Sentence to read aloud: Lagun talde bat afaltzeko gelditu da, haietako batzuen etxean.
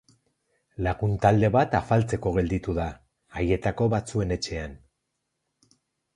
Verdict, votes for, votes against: accepted, 2, 0